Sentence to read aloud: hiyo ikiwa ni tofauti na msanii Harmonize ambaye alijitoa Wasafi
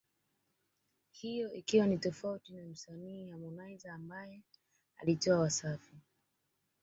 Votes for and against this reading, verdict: 2, 1, accepted